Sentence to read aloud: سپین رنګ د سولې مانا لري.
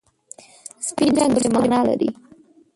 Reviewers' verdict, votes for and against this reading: rejected, 0, 2